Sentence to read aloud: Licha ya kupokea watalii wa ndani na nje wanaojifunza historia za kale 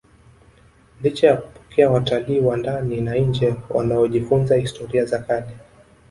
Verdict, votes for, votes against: accepted, 3, 0